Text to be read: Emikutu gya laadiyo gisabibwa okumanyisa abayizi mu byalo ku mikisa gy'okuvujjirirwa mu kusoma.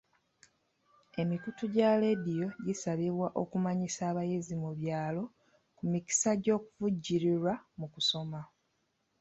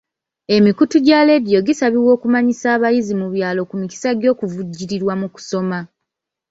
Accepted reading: first